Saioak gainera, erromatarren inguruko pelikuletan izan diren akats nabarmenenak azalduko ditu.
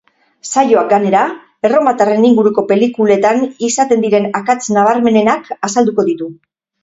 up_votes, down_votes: 0, 2